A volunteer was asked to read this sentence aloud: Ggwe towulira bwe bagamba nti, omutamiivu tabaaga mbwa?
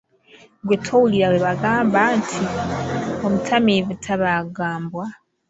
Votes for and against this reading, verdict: 2, 0, accepted